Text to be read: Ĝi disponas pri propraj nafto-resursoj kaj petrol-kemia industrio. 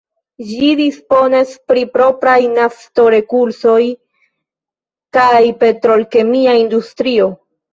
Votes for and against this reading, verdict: 2, 0, accepted